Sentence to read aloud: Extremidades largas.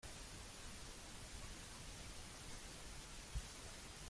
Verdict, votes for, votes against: rejected, 0, 2